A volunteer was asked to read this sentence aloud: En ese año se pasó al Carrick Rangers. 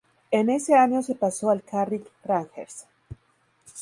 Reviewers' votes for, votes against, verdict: 0, 2, rejected